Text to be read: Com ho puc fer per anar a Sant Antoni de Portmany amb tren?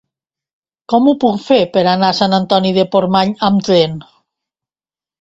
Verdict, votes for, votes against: accepted, 3, 0